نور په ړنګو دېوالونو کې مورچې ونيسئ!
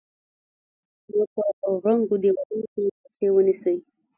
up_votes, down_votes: 2, 3